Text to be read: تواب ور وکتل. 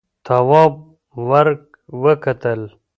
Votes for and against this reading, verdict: 2, 0, accepted